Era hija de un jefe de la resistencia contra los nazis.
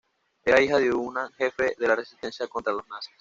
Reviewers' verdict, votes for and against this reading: rejected, 1, 2